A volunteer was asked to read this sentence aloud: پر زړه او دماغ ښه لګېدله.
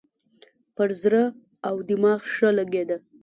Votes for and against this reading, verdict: 2, 0, accepted